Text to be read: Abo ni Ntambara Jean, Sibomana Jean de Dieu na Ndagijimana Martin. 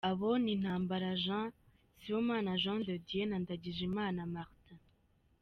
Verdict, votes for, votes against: accepted, 3, 0